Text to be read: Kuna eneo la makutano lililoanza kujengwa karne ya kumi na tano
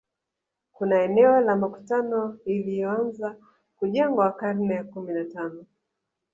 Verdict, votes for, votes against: rejected, 0, 2